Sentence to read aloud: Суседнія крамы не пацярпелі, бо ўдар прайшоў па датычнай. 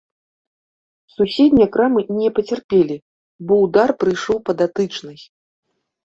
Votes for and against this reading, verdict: 1, 2, rejected